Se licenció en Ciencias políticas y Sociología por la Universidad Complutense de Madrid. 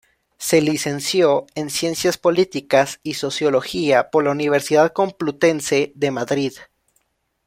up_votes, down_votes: 2, 0